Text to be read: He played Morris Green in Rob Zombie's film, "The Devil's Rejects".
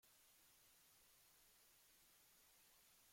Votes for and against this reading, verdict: 0, 2, rejected